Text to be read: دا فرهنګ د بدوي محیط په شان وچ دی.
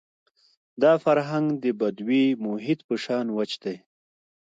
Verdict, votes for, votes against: rejected, 1, 2